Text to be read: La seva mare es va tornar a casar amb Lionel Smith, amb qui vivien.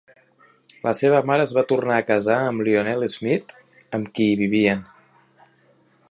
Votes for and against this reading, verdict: 1, 2, rejected